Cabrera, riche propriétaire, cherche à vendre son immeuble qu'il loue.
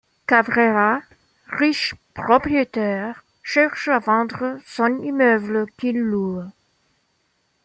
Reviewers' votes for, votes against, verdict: 2, 1, accepted